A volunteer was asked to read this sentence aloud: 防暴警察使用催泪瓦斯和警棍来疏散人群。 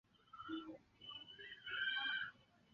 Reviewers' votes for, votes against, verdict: 2, 10, rejected